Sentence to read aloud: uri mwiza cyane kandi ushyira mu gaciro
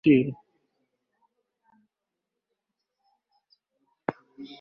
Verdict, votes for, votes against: rejected, 1, 2